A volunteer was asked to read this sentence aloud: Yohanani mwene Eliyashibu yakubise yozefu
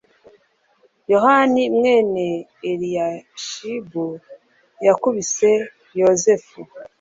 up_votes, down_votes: 2, 0